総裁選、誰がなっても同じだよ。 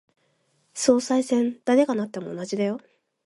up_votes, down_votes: 2, 0